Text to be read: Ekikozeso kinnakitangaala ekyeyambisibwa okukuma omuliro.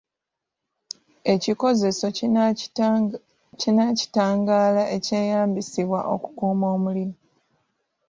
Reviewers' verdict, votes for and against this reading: rejected, 1, 2